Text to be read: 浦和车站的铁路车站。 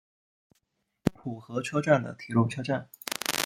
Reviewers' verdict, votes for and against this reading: rejected, 1, 2